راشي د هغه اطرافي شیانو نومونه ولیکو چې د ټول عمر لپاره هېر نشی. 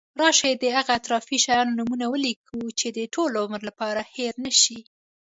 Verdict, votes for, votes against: rejected, 1, 2